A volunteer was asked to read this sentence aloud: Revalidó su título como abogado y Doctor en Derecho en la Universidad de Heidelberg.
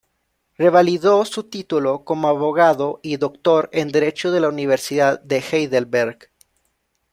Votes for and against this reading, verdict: 0, 2, rejected